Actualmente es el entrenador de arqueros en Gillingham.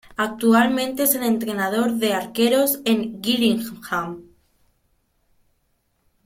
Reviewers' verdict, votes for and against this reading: accepted, 2, 0